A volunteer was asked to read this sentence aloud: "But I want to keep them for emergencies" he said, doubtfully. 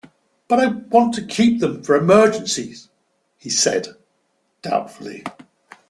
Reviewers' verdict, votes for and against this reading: accepted, 2, 0